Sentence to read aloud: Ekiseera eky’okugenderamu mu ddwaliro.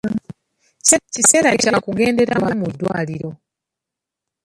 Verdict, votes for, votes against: rejected, 0, 2